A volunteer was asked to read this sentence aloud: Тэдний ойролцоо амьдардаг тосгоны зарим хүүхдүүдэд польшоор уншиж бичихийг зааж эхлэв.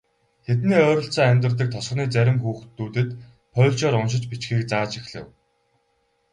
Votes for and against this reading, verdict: 0, 2, rejected